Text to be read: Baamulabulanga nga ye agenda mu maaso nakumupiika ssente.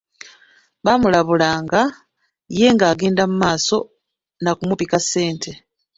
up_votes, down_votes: 1, 2